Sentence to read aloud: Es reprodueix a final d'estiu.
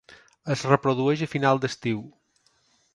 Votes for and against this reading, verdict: 3, 0, accepted